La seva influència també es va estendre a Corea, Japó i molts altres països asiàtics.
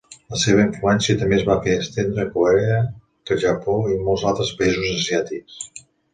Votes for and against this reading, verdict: 1, 2, rejected